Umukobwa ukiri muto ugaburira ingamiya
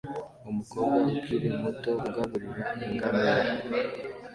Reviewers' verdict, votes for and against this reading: accepted, 2, 1